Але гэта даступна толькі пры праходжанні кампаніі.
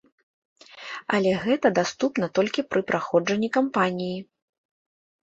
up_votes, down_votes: 2, 0